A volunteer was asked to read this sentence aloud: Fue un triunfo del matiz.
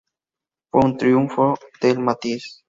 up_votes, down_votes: 8, 0